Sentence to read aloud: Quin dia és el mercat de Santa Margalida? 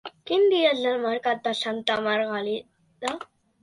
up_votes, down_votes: 1, 2